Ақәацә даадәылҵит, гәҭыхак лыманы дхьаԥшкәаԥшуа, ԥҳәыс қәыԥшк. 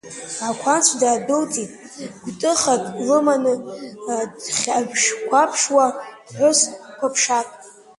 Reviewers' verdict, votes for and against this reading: rejected, 0, 2